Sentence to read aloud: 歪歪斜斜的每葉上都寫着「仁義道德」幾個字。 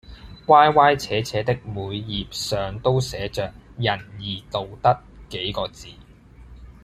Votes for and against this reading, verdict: 2, 0, accepted